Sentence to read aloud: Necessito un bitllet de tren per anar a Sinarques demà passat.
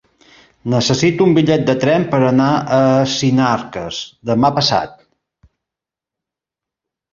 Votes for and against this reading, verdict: 3, 0, accepted